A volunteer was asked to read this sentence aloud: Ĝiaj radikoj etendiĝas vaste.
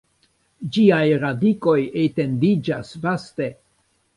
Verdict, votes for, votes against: accepted, 2, 0